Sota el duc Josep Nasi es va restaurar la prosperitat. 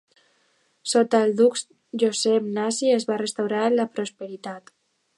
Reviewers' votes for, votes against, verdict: 2, 1, accepted